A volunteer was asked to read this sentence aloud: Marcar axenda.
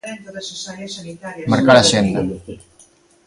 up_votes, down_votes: 0, 2